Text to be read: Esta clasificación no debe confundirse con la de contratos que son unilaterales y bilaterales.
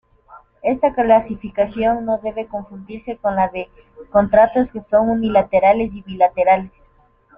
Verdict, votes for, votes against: accepted, 2, 1